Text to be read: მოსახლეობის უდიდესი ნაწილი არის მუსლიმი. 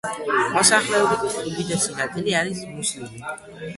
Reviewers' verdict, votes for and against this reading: rejected, 1, 2